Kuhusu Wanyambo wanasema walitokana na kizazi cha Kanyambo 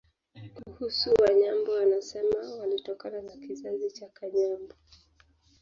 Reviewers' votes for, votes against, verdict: 1, 3, rejected